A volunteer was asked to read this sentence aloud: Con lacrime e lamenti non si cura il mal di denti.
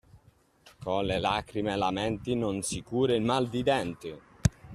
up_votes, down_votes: 0, 2